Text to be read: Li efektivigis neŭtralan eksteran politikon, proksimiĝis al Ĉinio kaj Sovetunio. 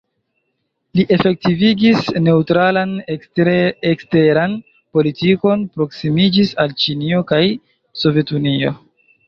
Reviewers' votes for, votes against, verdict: 0, 2, rejected